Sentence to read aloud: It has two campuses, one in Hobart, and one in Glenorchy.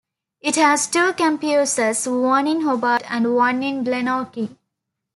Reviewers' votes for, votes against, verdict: 1, 2, rejected